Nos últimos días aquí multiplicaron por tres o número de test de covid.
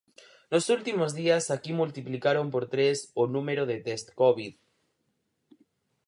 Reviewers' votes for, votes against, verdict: 2, 4, rejected